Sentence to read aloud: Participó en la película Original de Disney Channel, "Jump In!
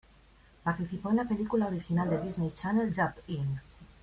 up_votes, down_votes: 2, 0